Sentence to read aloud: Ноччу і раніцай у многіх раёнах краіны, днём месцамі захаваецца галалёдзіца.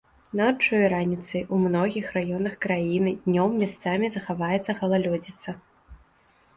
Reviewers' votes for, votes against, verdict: 0, 2, rejected